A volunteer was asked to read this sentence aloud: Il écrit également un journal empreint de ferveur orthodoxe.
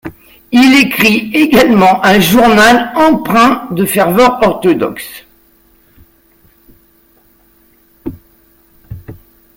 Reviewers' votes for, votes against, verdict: 2, 0, accepted